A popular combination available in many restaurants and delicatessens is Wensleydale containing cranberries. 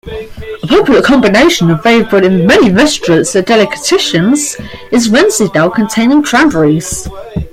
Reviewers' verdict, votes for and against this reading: rejected, 0, 2